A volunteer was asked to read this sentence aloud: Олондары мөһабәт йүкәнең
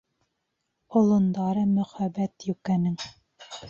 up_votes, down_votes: 0, 2